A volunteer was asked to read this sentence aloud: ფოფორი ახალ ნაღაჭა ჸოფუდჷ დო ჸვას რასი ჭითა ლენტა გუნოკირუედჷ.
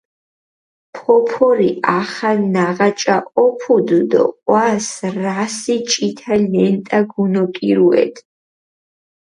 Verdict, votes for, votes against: accepted, 4, 0